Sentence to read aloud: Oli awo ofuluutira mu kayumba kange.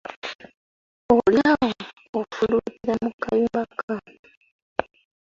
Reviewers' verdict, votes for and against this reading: rejected, 1, 2